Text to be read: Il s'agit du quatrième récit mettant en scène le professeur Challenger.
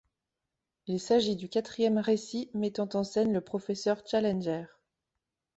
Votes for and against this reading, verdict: 2, 0, accepted